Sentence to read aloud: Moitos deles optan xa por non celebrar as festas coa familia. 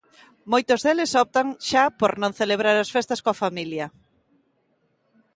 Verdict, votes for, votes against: accepted, 2, 0